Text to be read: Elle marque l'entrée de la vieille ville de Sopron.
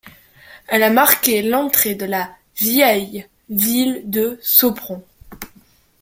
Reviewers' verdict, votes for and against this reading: rejected, 0, 2